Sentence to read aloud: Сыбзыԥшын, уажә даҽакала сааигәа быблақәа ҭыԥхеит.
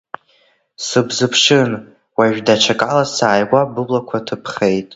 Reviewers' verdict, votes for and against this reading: accepted, 2, 0